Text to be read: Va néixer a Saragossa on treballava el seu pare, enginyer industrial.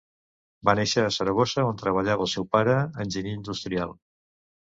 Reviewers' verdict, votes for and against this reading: accepted, 3, 0